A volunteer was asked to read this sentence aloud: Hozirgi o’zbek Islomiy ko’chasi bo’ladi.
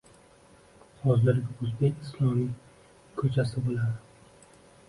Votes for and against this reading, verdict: 0, 2, rejected